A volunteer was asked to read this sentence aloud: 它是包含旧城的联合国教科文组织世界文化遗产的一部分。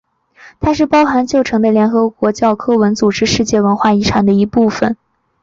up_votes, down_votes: 5, 0